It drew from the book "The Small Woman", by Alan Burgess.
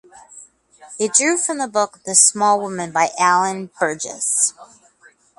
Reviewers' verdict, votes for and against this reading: accepted, 2, 0